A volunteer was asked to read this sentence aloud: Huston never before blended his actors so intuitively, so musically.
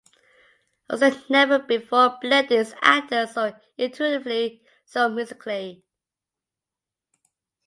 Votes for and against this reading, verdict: 2, 0, accepted